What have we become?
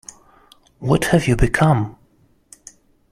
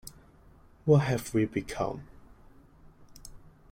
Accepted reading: second